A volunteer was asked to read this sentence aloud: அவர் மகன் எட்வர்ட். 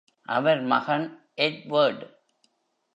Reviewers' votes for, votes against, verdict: 1, 2, rejected